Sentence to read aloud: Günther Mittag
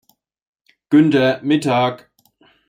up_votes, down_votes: 2, 0